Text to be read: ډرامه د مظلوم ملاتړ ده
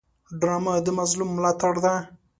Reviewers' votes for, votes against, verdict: 2, 0, accepted